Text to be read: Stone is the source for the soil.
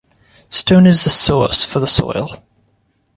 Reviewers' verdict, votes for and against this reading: accepted, 2, 0